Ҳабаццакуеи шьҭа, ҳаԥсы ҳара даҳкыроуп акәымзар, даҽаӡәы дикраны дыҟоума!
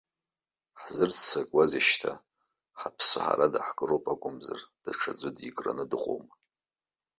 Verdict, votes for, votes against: rejected, 0, 2